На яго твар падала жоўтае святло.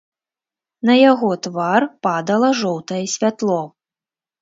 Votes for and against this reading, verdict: 2, 0, accepted